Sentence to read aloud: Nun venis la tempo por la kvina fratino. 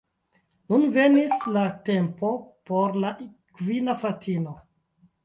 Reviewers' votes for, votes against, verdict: 2, 1, accepted